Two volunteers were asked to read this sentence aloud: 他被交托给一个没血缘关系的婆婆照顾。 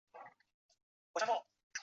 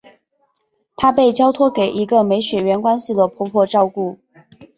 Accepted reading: second